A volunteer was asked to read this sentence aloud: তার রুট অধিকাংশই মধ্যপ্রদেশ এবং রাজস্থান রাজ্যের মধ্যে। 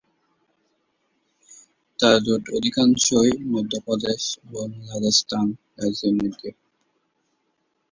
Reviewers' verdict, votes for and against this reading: rejected, 3, 6